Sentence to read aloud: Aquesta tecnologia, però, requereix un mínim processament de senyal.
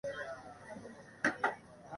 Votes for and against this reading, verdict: 1, 2, rejected